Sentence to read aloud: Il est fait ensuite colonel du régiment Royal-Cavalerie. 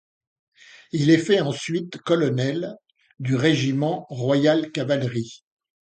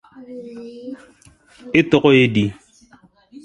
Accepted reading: first